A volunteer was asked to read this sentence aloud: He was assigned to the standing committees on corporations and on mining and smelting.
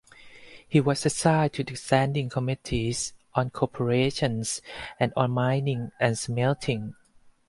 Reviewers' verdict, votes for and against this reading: rejected, 2, 2